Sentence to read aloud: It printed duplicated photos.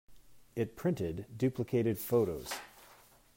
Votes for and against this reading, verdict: 2, 0, accepted